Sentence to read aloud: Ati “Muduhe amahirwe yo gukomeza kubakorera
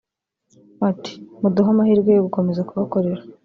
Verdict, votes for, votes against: accepted, 2, 0